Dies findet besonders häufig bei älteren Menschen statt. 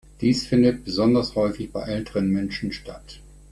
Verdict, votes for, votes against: accepted, 2, 0